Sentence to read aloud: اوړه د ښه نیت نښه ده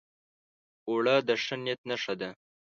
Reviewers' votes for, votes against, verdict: 2, 0, accepted